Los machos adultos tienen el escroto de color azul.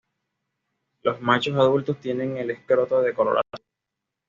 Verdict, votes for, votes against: accepted, 2, 0